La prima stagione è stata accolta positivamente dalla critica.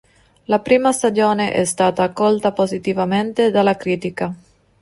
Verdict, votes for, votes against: accepted, 2, 0